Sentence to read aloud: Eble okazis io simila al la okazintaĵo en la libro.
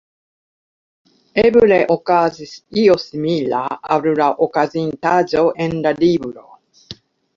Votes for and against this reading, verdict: 2, 0, accepted